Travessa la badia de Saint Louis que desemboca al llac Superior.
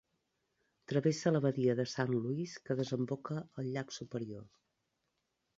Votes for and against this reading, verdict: 2, 0, accepted